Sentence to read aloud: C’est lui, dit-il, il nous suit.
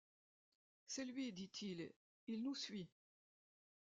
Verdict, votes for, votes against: accepted, 2, 1